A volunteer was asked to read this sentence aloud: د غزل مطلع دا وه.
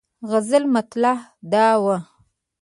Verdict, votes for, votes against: accepted, 2, 0